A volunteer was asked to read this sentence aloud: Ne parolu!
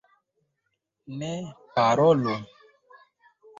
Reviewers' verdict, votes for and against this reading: rejected, 1, 2